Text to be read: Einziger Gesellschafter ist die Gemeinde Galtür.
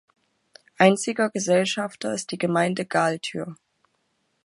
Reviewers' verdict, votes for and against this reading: accepted, 2, 0